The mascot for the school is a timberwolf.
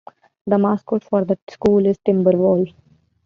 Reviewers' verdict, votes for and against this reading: rejected, 1, 2